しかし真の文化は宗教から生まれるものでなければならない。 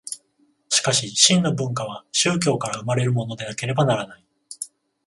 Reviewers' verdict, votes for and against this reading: accepted, 14, 0